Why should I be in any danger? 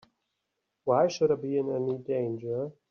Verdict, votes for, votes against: accepted, 2, 0